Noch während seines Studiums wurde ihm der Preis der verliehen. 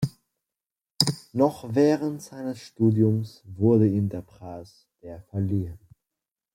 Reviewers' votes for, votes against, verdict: 2, 1, accepted